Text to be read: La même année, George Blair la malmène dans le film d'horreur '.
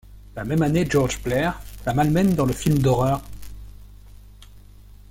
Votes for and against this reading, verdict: 2, 0, accepted